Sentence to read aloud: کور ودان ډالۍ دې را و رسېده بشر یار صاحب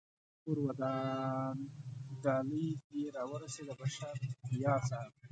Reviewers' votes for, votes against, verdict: 1, 2, rejected